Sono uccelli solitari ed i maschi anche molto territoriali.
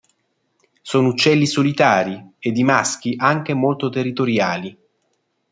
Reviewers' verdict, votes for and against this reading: accepted, 2, 0